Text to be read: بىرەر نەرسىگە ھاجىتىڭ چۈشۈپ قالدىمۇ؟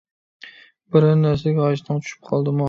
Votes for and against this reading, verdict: 1, 2, rejected